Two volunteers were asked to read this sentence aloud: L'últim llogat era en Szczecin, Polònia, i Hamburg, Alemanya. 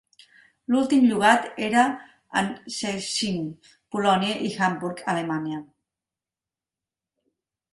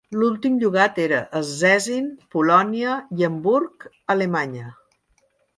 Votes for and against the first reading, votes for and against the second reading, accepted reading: 1, 2, 2, 0, second